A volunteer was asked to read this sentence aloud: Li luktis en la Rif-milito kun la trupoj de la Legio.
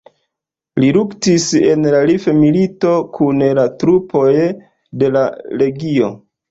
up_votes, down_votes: 1, 2